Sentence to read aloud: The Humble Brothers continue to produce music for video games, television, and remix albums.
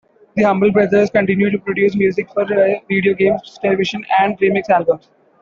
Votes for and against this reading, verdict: 2, 1, accepted